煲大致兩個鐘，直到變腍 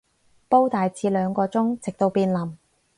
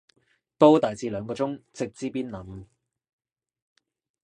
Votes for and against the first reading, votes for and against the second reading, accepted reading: 6, 0, 1, 2, first